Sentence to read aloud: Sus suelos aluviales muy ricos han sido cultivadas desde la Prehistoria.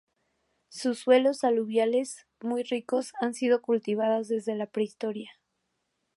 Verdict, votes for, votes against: accepted, 2, 0